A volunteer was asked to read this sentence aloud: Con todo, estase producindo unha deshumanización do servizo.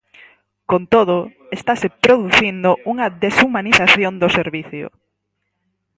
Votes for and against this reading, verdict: 0, 4, rejected